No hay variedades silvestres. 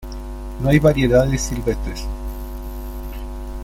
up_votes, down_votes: 2, 0